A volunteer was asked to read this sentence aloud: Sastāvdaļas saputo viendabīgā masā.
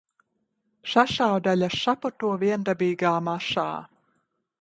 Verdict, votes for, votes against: rejected, 1, 2